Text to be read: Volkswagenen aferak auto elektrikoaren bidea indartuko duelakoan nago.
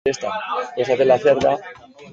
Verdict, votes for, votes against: rejected, 0, 2